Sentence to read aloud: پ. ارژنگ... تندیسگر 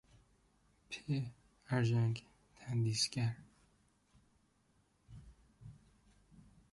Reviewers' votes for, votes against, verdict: 2, 0, accepted